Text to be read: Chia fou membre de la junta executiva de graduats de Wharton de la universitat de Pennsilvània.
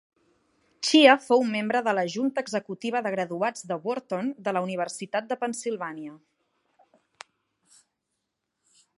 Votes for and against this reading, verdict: 2, 0, accepted